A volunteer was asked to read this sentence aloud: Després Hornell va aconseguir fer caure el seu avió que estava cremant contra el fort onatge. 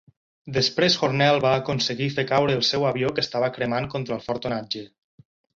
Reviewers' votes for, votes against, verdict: 6, 0, accepted